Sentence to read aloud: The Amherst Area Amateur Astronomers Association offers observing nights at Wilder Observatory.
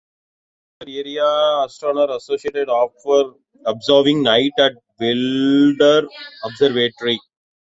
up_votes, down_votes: 0, 2